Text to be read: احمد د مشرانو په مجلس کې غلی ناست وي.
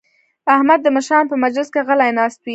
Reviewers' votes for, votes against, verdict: 1, 2, rejected